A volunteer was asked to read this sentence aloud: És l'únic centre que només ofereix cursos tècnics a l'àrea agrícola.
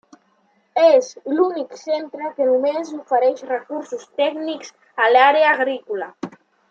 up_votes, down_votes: 0, 2